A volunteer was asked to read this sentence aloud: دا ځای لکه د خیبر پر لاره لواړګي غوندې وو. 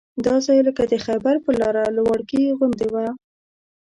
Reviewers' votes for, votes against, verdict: 1, 2, rejected